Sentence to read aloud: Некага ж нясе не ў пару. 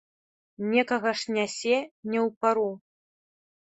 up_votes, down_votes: 2, 0